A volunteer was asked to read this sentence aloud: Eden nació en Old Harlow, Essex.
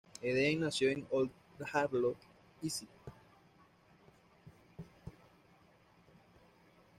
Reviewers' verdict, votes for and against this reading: accepted, 2, 1